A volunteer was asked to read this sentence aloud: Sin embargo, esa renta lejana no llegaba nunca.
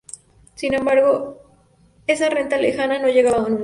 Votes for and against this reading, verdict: 0, 2, rejected